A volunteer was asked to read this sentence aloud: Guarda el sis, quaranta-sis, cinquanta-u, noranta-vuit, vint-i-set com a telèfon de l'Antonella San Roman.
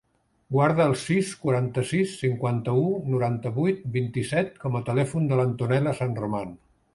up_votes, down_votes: 1, 2